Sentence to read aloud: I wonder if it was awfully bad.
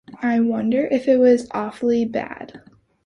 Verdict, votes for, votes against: accepted, 2, 0